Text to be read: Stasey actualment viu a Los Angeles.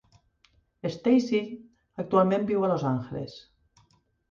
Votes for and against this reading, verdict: 2, 0, accepted